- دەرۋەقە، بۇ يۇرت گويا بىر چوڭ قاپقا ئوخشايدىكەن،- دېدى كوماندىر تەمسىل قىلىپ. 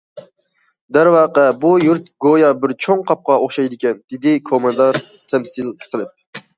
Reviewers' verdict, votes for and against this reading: rejected, 0, 2